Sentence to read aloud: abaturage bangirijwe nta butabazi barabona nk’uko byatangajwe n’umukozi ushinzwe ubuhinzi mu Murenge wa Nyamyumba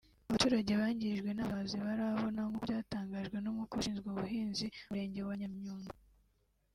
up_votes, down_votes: 0, 2